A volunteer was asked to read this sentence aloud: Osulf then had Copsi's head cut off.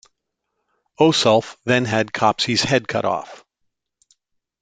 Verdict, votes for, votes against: accepted, 2, 0